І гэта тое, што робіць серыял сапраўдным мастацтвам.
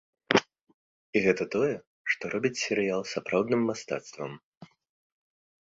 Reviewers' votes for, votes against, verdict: 2, 0, accepted